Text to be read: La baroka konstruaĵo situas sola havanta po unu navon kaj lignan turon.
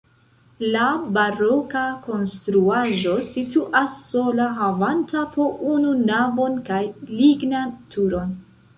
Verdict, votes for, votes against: rejected, 1, 2